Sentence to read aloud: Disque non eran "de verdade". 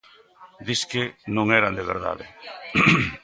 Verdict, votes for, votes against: accepted, 2, 0